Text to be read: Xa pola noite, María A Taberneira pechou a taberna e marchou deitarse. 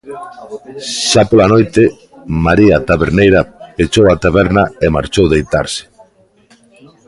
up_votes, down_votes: 1, 2